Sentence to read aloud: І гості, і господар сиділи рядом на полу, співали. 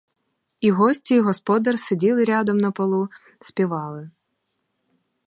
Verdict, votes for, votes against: accepted, 4, 0